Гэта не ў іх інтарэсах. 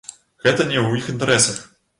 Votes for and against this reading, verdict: 2, 0, accepted